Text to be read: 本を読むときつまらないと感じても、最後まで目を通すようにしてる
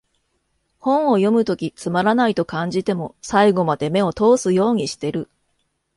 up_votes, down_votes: 2, 0